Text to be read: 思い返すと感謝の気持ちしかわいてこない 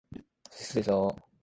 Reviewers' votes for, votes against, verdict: 0, 2, rejected